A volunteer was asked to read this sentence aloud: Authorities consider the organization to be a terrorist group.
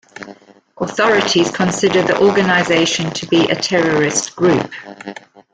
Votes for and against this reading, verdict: 2, 0, accepted